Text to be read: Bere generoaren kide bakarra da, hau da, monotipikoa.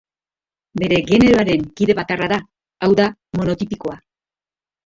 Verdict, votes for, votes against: accepted, 2, 1